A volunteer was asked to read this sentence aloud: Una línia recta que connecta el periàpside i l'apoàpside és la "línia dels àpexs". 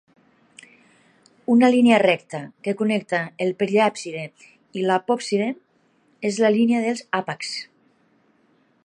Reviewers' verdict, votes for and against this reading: accepted, 2, 1